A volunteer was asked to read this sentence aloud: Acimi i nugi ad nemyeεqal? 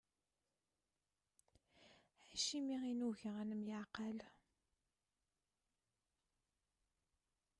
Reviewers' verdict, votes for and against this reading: rejected, 1, 2